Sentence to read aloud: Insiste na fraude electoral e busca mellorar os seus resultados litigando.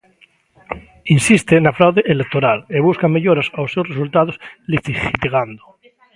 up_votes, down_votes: 0, 2